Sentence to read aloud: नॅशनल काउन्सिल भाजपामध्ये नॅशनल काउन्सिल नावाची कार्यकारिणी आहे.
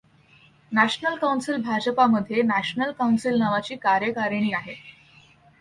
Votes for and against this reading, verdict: 2, 0, accepted